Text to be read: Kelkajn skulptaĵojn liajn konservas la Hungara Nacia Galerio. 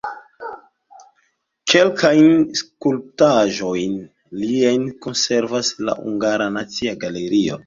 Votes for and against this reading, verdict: 0, 2, rejected